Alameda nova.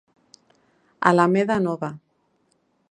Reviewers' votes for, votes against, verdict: 2, 0, accepted